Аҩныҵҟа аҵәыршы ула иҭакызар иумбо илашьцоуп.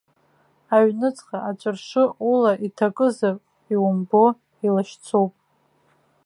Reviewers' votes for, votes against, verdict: 2, 0, accepted